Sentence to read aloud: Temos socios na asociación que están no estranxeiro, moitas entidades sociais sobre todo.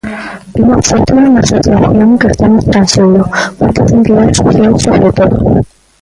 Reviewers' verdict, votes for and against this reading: rejected, 0, 2